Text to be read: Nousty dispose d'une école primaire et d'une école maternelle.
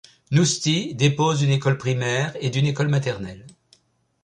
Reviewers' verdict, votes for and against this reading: rejected, 0, 3